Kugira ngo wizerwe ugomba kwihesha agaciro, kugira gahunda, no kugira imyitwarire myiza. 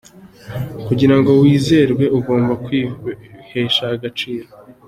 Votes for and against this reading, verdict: 0, 2, rejected